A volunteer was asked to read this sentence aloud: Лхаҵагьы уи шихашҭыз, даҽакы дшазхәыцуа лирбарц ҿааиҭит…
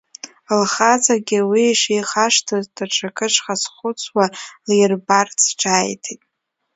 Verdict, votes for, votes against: rejected, 0, 2